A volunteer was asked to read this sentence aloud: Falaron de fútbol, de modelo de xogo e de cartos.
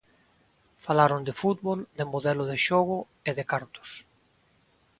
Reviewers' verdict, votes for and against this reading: accepted, 2, 0